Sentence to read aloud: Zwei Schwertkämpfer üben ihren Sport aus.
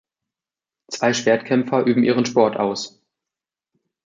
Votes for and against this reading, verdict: 2, 0, accepted